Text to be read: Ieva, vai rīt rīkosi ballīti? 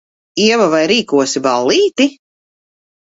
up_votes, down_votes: 0, 2